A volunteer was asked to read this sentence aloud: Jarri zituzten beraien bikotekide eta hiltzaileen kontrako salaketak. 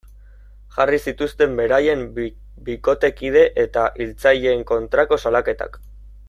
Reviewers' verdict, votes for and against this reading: rejected, 1, 2